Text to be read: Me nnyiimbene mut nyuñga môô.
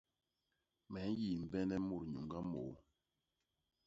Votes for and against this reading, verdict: 1, 2, rejected